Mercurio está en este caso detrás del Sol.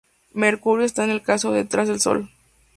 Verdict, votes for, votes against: rejected, 0, 2